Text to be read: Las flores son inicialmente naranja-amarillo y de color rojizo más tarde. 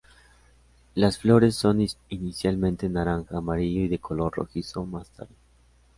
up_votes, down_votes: 2, 0